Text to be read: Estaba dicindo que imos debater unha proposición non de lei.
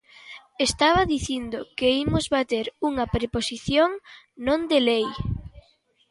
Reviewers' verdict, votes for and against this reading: rejected, 1, 2